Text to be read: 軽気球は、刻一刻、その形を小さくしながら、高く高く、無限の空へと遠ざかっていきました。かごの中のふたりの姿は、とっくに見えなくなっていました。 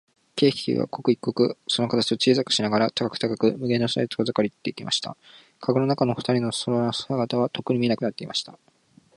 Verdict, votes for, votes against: accepted, 9, 7